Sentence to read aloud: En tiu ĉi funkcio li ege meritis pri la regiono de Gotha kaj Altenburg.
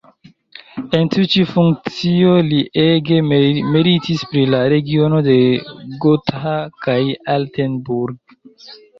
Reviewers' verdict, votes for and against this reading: accepted, 2, 1